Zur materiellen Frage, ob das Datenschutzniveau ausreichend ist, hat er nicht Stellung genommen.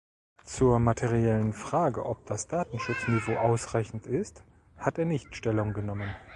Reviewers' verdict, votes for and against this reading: rejected, 1, 2